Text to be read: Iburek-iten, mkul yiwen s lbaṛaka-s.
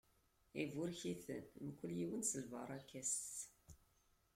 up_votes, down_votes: 2, 1